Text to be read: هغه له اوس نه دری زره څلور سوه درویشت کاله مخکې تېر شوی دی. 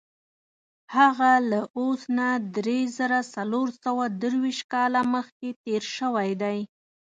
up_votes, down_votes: 2, 0